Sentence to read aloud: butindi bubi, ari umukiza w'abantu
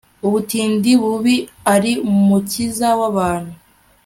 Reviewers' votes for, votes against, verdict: 2, 0, accepted